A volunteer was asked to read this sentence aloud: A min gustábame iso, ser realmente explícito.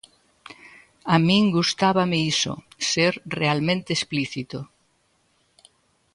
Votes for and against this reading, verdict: 2, 0, accepted